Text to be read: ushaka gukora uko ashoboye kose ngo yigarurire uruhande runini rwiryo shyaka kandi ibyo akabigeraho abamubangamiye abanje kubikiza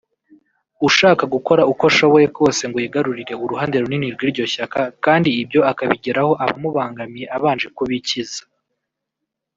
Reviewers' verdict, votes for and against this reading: rejected, 1, 2